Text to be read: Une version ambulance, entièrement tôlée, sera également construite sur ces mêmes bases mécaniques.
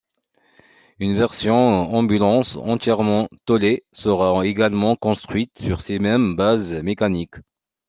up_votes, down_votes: 2, 1